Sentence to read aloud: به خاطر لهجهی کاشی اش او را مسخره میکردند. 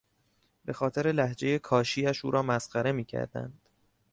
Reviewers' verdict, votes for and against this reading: accepted, 2, 0